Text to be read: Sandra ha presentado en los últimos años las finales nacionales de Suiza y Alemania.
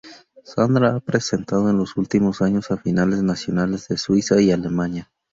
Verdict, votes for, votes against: rejected, 0, 2